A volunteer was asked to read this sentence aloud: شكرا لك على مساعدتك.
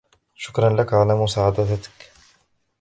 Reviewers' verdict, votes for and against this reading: rejected, 1, 2